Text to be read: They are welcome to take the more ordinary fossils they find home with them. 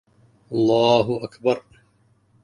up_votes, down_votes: 0, 2